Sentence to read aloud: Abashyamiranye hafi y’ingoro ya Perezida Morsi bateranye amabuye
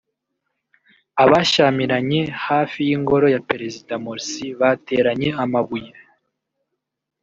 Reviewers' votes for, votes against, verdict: 1, 2, rejected